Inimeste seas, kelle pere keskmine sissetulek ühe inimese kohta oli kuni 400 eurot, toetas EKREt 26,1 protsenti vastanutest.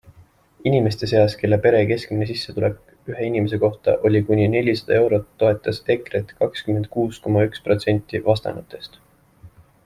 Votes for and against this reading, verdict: 0, 2, rejected